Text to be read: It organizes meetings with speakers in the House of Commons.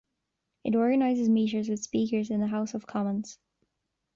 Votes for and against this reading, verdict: 1, 2, rejected